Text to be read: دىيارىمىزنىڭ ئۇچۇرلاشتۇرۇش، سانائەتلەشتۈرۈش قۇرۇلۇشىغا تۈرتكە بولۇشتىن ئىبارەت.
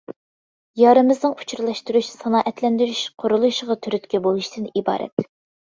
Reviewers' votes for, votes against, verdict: 0, 2, rejected